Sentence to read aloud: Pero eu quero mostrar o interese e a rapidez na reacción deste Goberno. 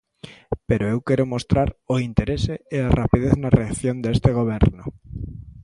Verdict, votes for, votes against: accepted, 2, 0